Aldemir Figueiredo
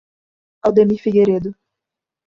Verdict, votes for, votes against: accepted, 2, 0